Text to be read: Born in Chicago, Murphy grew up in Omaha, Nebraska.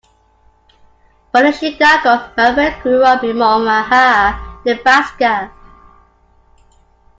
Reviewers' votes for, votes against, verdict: 1, 2, rejected